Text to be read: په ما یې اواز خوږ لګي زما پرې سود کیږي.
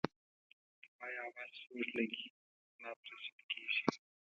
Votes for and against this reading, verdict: 0, 2, rejected